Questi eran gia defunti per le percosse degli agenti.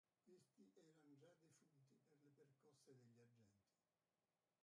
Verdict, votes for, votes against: rejected, 0, 2